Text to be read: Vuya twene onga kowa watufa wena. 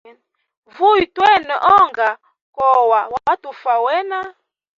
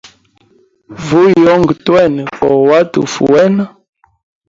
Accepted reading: first